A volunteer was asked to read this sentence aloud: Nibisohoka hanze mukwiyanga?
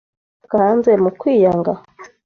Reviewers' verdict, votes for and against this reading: rejected, 1, 2